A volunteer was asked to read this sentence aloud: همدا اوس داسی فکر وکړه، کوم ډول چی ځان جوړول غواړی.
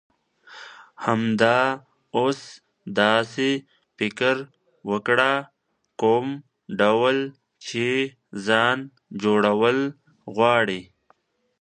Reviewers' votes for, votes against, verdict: 2, 1, accepted